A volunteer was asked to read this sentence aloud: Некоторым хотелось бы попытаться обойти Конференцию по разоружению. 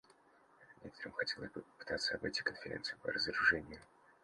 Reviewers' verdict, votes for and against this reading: rejected, 1, 2